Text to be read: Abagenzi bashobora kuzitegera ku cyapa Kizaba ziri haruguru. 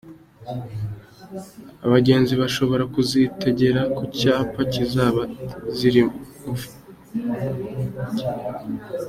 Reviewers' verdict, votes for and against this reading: accepted, 2, 0